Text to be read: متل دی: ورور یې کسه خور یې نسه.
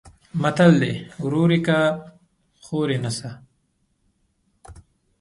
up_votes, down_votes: 0, 2